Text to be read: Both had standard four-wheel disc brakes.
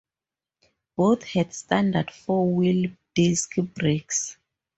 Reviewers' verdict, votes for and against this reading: accepted, 2, 0